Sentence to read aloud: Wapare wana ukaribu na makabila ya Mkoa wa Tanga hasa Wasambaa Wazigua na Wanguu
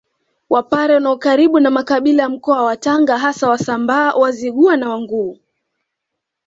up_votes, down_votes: 2, 0